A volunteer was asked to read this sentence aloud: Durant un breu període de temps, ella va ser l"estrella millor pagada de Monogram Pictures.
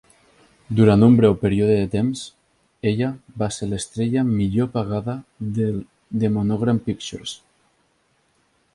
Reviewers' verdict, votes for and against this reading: accepted, 2, 0